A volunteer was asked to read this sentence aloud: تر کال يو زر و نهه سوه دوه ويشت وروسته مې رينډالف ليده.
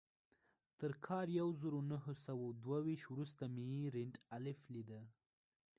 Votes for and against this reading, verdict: 1, 2, rejected